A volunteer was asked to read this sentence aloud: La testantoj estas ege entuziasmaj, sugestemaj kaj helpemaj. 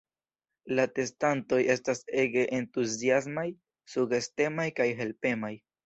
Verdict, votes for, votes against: rejected, 0, 2